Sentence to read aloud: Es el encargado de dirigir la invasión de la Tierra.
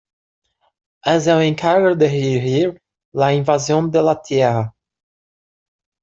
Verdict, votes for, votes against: rejected, 0, 2